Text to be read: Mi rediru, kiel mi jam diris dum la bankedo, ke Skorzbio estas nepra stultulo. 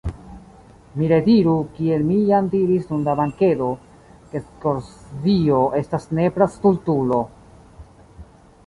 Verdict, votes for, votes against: accepted, 2, 1